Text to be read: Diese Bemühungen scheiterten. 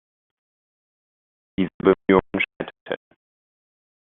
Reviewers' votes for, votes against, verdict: 0, 2, rejected